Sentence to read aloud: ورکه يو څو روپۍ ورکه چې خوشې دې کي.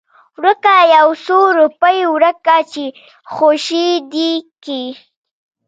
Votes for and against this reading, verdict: 1, 2, rejected